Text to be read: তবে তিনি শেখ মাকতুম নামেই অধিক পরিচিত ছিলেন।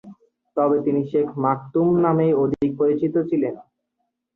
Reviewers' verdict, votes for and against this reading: rejected, 2, 3